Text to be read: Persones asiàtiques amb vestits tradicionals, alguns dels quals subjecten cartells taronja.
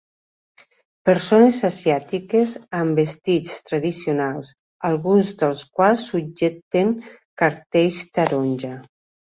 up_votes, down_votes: 2, 1